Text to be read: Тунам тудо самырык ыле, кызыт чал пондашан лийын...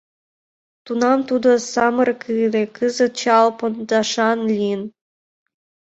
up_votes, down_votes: 2, 1